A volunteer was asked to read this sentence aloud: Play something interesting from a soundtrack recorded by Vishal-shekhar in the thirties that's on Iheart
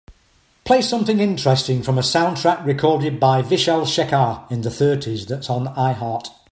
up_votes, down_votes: 3, 0